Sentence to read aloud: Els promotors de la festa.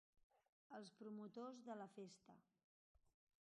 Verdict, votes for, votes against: accepted, 3, 2